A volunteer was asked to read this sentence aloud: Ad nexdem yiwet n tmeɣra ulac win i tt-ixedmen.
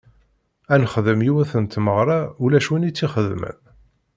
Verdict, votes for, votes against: accepted, 2, 0